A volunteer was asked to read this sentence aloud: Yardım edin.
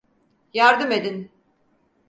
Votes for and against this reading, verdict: 4, 0, accepted